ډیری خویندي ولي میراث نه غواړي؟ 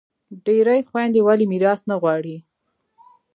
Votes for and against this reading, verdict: 2, 0, accepted